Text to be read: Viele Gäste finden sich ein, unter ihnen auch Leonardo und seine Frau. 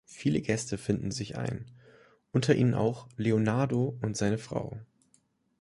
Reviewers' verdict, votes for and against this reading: accepted, 2, 0